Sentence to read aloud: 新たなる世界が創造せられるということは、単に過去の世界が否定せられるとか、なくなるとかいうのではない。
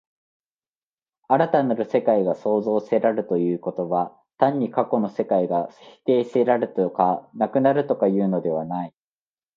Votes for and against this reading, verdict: 2, 0, accepted